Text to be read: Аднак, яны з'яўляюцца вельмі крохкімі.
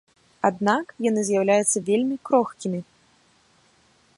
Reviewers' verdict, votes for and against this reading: accepted, 2, 0